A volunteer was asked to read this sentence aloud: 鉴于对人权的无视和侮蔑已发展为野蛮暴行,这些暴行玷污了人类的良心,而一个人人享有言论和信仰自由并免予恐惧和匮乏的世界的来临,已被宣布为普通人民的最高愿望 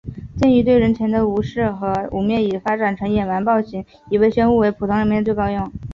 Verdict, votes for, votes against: rejected, 1, 3